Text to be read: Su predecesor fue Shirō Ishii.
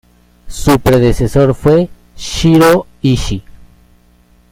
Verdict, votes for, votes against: accepted, 2, 0